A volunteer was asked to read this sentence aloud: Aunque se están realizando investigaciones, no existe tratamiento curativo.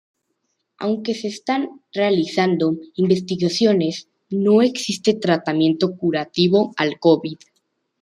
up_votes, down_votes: 0, 2